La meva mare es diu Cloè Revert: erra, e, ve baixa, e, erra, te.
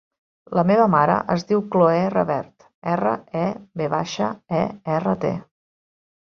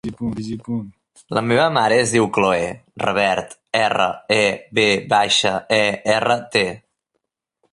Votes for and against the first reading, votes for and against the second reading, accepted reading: 5, 0, 0, 2, first